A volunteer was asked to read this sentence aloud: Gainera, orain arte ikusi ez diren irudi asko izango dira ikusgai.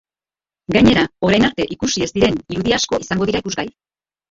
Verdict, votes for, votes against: rejected, 2, 2